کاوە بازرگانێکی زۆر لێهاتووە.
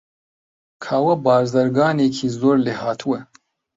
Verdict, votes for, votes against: rejected, 0, 2